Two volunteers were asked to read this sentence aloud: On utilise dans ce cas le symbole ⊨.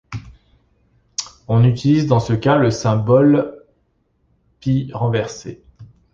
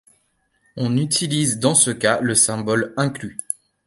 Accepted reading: second